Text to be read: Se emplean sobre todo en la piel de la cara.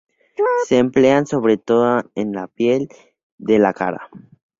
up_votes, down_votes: 0, 2